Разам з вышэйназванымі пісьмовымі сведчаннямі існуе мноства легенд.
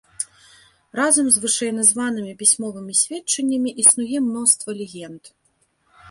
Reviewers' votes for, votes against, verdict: 2, 0, accepted